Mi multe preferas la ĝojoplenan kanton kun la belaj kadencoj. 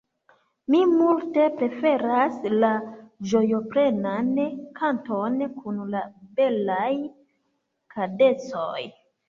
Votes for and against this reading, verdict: 1, 2, rejected